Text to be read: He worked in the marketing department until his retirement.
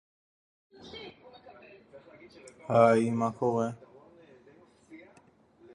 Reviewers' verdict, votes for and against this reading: rejected, 0, 2